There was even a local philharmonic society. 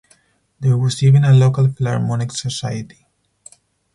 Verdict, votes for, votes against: accepted, 4, 2